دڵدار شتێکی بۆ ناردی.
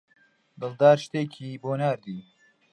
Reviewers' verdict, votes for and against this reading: accepted, 2, 0